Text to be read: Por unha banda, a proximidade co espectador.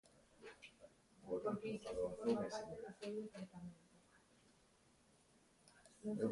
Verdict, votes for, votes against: rejected, 0, 2